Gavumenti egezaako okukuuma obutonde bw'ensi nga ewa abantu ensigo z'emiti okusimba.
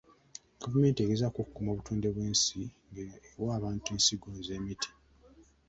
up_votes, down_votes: 1, 2